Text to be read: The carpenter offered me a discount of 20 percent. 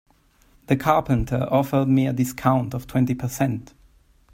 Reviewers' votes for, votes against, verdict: 0, 2, rejected